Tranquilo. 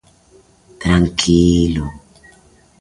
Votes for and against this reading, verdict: 2, 0, accepted